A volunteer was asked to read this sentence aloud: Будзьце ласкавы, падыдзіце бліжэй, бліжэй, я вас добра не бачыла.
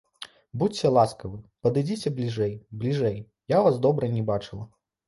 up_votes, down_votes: 2, 0